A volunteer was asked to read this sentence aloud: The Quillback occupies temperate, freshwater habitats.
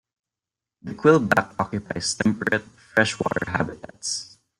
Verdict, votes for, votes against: rejected, 1, 2